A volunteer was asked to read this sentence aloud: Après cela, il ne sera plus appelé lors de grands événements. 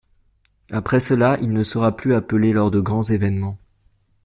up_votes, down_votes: 2, 0